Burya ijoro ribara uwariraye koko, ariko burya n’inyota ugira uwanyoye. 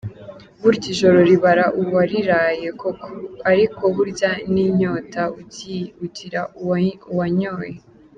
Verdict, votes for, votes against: rejected, 0, 2